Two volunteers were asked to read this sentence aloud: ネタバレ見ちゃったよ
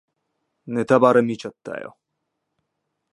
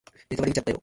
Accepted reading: first